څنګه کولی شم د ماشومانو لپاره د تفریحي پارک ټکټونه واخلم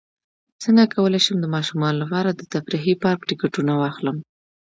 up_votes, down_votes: 2, 0